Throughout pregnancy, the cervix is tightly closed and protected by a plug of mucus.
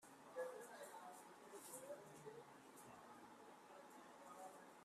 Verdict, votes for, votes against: rejected, 0, 2